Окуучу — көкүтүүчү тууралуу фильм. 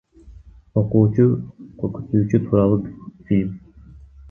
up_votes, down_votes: 0, 2